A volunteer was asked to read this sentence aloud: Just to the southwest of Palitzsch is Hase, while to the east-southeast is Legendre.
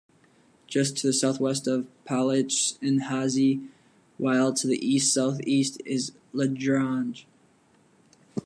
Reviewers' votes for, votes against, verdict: 1, 2, rejected